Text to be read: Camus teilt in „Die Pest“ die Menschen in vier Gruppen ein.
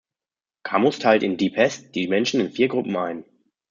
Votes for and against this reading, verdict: 0, 2, rejected